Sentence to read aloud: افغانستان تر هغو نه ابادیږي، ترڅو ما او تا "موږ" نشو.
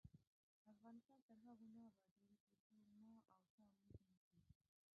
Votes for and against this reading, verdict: 1, 2, rejected